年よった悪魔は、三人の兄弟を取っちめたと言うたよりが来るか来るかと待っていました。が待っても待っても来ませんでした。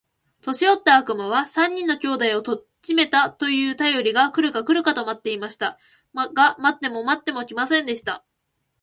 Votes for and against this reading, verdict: 2, 2, rejected